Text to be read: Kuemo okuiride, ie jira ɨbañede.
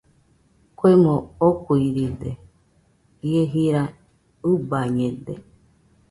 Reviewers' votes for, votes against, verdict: 2, 0, accepted